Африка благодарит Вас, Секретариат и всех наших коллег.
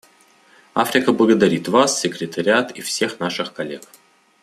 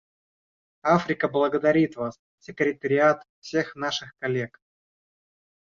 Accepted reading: first